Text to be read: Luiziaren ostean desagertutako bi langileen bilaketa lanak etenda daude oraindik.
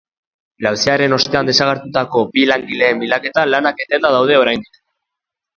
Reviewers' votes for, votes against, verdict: 1, 2, rejected